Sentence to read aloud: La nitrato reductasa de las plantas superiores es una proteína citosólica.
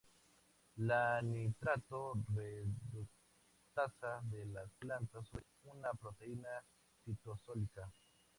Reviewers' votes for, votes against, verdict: 0, 4, rejected